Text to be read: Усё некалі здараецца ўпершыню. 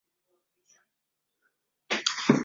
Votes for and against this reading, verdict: 0, 2, rejected